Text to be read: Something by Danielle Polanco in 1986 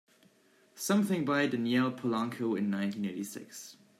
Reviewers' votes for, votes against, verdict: 0, 2, rejected